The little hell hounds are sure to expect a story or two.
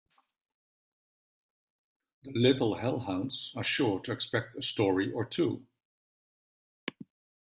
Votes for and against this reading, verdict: 0, 2, rejected